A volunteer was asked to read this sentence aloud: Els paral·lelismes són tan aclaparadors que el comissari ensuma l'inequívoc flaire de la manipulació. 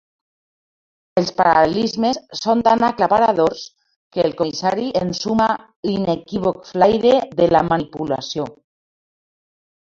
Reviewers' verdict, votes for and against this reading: accepted, 2, 1